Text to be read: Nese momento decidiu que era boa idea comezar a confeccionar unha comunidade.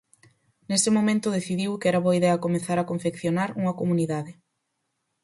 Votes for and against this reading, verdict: 4, 0, accepted